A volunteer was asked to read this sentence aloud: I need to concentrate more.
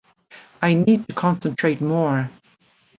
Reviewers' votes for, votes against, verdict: 0, 2, rejected